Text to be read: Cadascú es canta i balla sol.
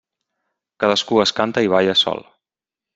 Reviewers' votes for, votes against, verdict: 3, 0, accepted